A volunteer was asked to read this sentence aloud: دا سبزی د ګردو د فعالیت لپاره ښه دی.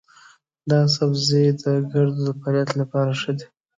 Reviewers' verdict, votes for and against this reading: rejected, 0, 2